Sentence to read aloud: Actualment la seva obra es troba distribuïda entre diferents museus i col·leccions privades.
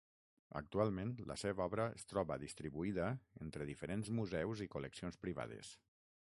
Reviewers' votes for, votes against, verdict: 3, 6, rejected